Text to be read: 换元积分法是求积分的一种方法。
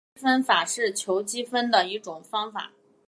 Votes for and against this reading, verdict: 0, 2, rejected